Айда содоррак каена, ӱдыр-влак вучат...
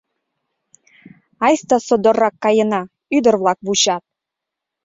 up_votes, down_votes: 0, 2